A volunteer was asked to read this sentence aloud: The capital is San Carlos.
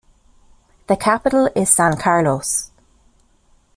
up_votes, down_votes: 2, 0